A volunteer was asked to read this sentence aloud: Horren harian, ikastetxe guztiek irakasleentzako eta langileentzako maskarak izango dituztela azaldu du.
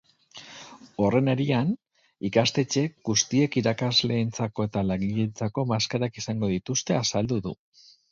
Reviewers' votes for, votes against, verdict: 0, 2, rejected